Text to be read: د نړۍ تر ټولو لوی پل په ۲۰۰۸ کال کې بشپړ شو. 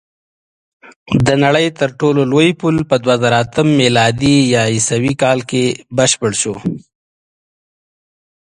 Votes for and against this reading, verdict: 0, 2, rejected